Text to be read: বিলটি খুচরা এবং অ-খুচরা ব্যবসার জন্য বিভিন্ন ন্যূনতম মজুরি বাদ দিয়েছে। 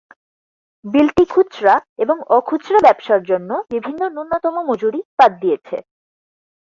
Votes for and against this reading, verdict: 4, 2, accepted